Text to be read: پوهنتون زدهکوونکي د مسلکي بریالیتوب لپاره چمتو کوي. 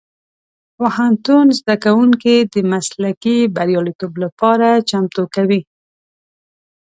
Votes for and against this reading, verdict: 2, 0, accepted